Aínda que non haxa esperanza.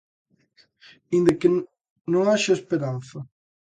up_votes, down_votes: 0, 2